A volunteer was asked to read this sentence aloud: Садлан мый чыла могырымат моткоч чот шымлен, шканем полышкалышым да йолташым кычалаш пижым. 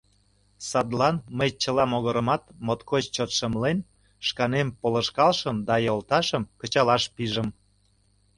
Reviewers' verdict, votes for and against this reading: accepted, 2, 0